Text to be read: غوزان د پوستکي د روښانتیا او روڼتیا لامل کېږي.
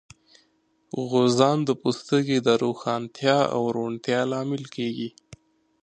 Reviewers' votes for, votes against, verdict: 2, 0, accepted